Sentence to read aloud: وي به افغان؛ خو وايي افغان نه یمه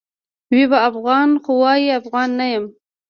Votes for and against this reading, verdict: 2, 1, accepted